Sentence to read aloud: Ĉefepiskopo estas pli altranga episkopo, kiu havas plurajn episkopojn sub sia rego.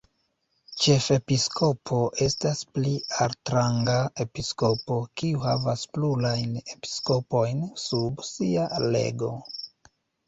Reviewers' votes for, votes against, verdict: 1, 2, rejected